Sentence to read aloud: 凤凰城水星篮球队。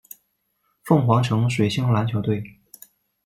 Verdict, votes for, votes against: accepted, 2, 0